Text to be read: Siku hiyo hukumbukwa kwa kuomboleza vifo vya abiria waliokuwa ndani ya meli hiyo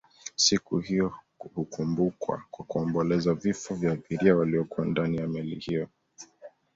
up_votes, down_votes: 2, 0